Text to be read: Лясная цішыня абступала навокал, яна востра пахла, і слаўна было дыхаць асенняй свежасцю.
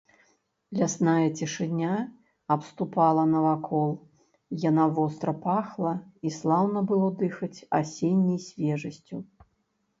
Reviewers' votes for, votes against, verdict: 0, 2, rejected